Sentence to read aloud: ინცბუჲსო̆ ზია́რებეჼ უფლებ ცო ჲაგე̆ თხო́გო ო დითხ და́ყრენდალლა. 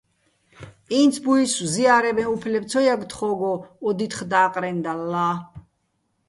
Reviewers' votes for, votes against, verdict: 2, 0, accepted